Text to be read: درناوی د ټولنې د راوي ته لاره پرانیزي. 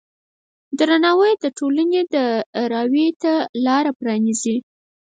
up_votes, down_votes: 2, 4